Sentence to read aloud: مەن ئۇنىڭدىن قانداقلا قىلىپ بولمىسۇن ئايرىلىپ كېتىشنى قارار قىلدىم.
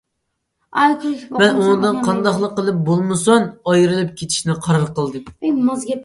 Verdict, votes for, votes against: rejected, 0, 2